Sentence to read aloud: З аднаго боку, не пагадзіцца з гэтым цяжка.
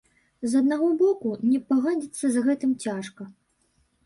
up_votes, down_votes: 0, 2